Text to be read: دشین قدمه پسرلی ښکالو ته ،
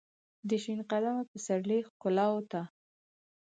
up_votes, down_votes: 4, 0